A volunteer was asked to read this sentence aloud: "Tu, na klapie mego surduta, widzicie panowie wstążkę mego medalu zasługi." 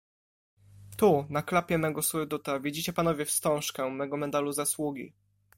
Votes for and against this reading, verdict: 2, 1, accepted